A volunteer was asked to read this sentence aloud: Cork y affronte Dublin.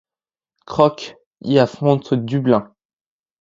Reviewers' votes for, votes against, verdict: 0, 2, rejected